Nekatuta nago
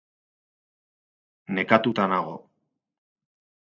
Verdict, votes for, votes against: rejected, 2, 2